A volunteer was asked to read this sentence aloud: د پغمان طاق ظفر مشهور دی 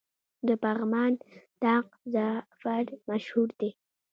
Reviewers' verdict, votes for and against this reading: rejected, 1, 3